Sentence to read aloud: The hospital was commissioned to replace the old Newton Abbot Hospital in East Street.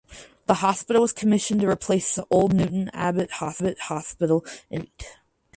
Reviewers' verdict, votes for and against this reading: rejected, 0, 4